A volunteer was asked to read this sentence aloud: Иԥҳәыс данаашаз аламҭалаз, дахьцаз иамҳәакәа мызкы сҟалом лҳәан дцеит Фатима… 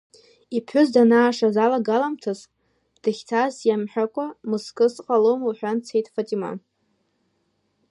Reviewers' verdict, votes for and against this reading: rejected, 0, 2